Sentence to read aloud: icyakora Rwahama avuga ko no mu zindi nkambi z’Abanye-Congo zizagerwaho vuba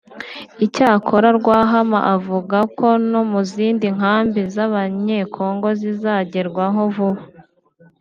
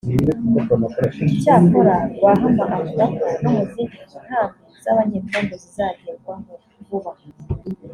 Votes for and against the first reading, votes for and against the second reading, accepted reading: 2, 0, 1, 2, first